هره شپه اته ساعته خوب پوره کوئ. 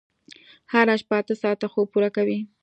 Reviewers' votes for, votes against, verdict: 2, 0, accepted